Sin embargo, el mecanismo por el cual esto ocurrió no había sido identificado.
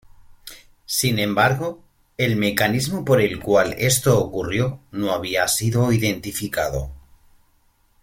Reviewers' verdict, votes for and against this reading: accepted, 2, 0